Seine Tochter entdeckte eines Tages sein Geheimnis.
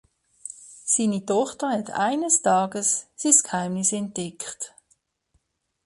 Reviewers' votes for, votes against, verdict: 0, 2, rejected